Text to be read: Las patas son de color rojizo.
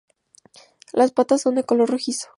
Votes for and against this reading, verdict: 2, 0, accepted